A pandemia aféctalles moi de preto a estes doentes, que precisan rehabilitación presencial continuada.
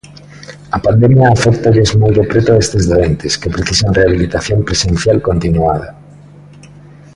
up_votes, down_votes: 2, 0